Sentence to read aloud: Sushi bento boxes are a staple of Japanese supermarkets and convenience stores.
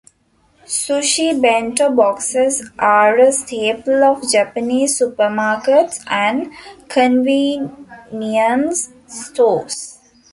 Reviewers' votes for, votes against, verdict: 0, 2, rejected